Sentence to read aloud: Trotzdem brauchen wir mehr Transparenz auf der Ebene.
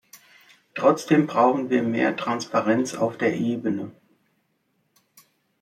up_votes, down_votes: 3, 0